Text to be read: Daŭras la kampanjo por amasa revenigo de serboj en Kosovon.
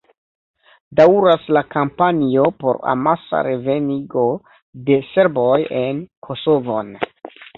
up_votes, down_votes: 2, 0